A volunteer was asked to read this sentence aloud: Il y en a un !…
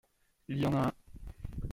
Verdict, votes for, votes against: rejected, 1, 2